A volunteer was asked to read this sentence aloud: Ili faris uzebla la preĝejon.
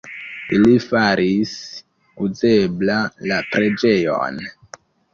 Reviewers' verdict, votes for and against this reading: rejected, 1, 2